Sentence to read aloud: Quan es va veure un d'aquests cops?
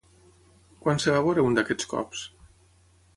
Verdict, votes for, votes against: rejected, 3, 3